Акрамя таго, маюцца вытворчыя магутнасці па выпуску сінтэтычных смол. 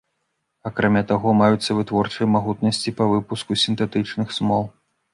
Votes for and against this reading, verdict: 2, 0, accepted